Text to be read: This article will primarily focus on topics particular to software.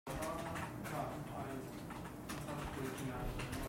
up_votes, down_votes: 0, 2